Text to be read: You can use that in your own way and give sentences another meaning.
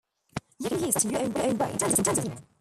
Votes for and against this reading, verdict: 1, 2, rejected